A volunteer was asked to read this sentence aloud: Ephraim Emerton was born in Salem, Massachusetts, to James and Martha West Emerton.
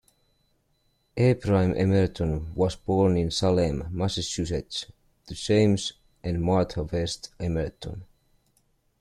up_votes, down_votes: 1, 2